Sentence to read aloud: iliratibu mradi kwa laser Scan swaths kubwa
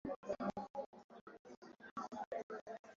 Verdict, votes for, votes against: rejected, 1, 13